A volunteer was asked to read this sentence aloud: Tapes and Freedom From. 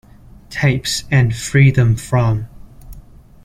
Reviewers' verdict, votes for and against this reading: accepted, 2, 0